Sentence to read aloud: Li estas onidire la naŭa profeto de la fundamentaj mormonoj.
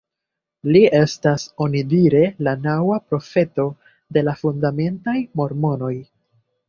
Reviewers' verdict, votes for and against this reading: accepted, 2, 1